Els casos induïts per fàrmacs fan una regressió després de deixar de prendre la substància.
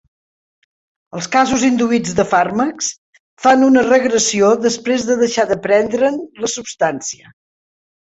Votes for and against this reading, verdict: 0, 3, rejected